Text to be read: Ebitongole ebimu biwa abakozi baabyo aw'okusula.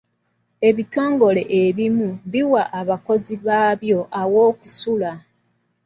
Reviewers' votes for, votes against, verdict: 2, 0, accepted